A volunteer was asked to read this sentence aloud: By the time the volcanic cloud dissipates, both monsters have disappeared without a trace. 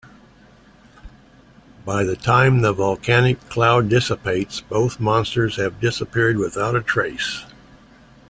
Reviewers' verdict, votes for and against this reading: accepted, 2, 0